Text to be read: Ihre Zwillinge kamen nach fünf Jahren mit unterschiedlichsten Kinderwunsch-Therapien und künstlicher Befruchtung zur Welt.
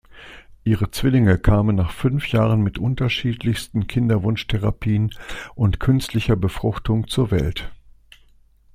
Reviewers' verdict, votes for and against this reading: accepted, 2, 0